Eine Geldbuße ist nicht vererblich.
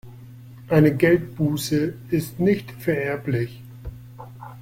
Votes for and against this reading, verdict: 2, 0, accepted